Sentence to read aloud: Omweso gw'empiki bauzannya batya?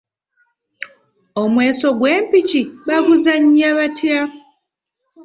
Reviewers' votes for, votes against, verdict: 2, 1, accepted